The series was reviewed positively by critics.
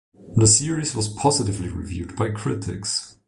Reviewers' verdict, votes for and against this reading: rejected, 0, 2